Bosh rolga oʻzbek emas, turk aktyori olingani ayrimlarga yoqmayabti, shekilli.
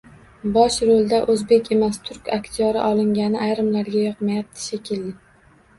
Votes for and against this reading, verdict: 1, 2, rejected